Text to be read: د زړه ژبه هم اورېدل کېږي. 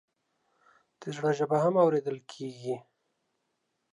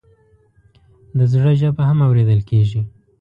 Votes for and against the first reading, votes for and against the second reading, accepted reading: 0, 2, 2, 0, second